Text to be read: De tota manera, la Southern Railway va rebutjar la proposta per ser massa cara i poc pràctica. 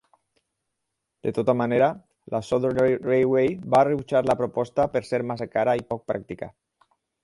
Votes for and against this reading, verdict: 2, 4, rejected